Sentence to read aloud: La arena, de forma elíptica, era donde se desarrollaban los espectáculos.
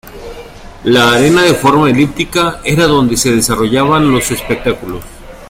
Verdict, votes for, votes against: rejected, 0, 2